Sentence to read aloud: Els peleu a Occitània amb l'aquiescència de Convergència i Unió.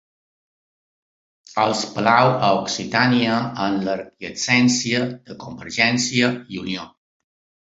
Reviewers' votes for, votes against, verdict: 2, 0, accepted